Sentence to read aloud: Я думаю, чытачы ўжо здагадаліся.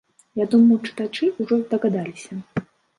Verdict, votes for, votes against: rejected, 1, 2